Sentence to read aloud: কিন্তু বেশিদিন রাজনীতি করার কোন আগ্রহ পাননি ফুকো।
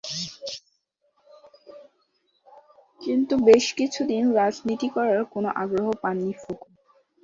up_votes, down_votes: 0, 2